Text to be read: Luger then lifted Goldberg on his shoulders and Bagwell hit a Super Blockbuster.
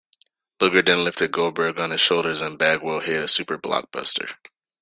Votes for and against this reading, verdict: 2, 0, accepted